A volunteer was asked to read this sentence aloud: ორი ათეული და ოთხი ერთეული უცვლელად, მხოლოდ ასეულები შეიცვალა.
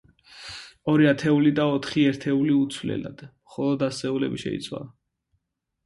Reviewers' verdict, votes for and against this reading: accepted, 2, 0